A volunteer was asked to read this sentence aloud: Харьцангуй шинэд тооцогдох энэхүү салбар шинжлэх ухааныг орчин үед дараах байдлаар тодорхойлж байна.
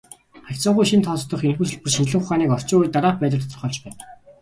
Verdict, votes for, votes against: accepted, 3, 1